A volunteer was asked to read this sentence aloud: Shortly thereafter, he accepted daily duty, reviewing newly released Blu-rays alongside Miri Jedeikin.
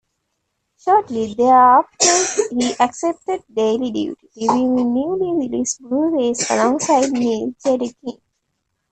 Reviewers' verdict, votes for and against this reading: rejected, 0, 2